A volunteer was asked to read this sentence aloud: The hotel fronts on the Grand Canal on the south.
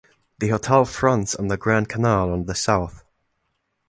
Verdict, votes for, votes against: rejected, 1, 2